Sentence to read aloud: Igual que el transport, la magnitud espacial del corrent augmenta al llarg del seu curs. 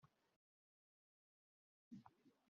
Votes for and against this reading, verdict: 0, 2, rejected